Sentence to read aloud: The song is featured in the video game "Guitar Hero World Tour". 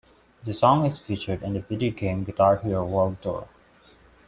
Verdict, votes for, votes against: accepted, 2, 0